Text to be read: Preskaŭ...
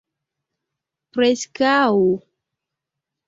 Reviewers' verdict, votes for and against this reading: rejected, 0, 2